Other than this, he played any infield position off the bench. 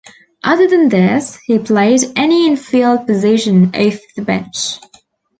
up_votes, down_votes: 0, 2